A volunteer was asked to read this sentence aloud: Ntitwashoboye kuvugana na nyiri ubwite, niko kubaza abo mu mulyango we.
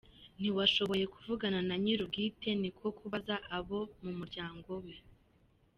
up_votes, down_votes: 2, 0